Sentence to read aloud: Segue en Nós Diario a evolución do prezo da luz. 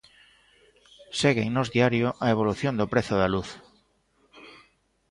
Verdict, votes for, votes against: accepted, 2, 0